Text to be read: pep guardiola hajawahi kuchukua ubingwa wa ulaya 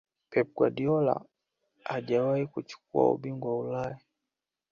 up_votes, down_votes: 2, 0